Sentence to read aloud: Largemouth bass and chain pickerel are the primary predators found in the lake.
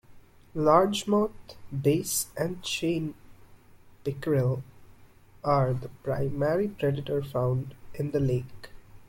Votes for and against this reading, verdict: 2, 1, accepted